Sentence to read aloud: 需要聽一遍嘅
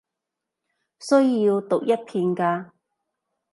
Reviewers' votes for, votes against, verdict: 0, 2, rejected